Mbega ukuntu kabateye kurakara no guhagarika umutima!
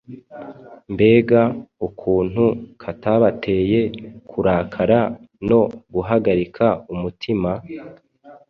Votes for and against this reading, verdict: 1, 3, rejected